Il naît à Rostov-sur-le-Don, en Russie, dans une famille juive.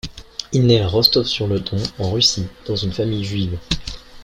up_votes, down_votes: 2, 1